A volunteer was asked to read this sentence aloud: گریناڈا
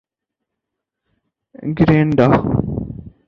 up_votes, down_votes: 4, 0